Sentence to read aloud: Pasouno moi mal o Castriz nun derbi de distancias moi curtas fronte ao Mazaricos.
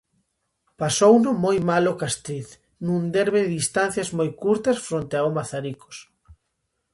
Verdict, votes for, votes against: accepted, 2, 0